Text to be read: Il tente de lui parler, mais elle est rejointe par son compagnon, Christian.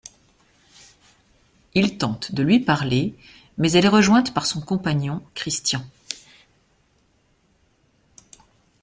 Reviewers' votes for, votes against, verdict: 2, 1, accepted